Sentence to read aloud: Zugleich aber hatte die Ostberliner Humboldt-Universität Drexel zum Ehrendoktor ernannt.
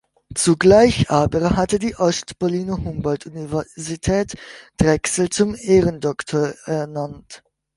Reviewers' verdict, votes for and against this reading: rejected, 1, 2